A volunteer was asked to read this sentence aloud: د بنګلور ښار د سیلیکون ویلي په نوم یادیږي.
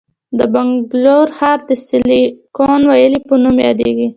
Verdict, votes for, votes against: accepted, 2, 0